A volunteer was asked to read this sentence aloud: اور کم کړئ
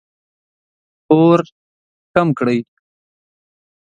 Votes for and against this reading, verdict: 2, 0, accepted